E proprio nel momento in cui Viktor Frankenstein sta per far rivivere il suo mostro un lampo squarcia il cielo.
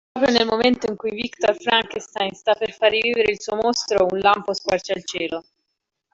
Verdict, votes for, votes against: rejected, 1, 2